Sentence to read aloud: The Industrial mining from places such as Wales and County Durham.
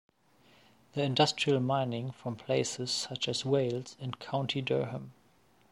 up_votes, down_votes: 2, 0